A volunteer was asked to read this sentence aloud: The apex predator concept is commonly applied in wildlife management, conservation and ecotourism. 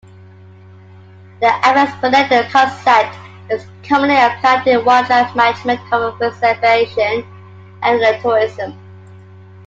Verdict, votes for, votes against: rejected, 0, 2